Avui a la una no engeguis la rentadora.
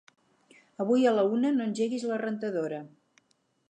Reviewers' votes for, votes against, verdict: 6, 0, accepted